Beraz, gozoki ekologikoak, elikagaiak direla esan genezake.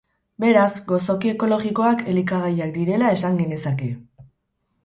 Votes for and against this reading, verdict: 4, 0, accepted